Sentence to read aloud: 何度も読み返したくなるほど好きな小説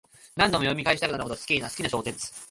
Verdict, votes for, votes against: rejected, 1, 2